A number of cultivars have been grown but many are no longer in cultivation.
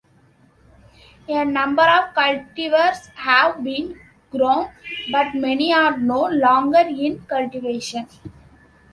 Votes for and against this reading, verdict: 2, 0, accepted